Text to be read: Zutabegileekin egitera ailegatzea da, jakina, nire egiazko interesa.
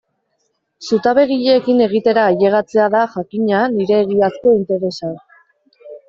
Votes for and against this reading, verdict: 2, 1, accepted